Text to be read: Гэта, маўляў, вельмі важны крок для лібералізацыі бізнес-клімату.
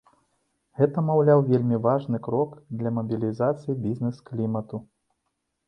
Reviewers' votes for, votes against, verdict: 0, 2, rejected